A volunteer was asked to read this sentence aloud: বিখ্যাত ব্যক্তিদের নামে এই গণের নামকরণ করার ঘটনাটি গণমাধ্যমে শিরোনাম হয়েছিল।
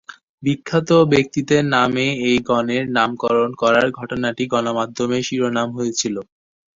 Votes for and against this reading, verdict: 2, 0, accepted